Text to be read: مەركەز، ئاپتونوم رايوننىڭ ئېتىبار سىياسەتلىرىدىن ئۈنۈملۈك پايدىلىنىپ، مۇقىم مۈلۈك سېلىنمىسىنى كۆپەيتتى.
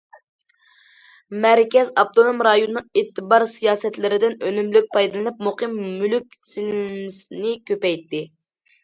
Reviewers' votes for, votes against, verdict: 2, 0, accepted